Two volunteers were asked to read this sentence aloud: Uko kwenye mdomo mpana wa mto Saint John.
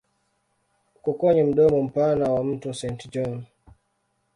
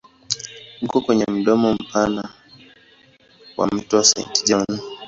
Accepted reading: second